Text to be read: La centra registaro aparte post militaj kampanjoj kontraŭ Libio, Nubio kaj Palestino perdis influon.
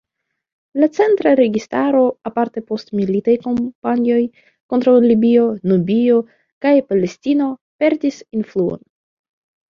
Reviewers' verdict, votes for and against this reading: accepted, 2, 0